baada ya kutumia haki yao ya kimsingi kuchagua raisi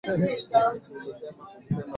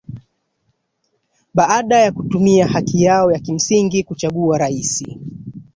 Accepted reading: second